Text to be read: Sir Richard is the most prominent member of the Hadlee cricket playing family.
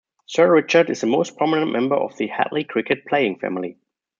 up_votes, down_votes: 2, 0